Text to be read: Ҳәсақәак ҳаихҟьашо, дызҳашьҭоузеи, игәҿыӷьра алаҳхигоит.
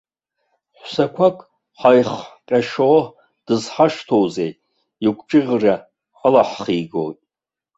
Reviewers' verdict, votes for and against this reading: rejected, 1, 2